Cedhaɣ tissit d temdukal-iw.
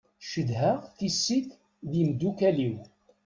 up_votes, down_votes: 2, 1